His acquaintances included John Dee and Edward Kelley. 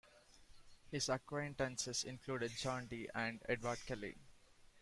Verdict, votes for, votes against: accepted, 2, 0